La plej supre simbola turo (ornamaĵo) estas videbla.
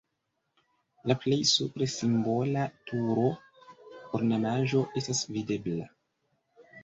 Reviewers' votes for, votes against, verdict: 1, 2, rejected